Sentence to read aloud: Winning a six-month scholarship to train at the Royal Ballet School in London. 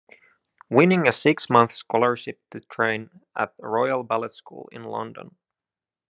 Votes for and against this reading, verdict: 2, 0, accepted